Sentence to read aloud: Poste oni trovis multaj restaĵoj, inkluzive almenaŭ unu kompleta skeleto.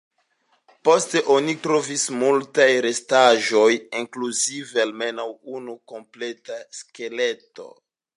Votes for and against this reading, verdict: 2, 1, accepted